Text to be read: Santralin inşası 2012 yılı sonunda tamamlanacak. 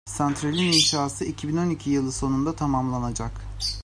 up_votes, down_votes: 0, 2